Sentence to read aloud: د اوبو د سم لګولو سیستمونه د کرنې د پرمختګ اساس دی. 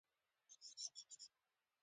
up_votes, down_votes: 1, 2